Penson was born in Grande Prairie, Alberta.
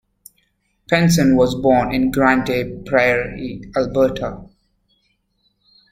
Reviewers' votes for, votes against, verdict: 0, 2, rejected